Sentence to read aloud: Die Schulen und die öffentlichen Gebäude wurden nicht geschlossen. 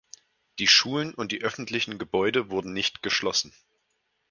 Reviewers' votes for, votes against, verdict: 4, 0, accepted